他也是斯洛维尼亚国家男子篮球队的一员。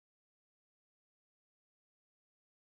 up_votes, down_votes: 1, 4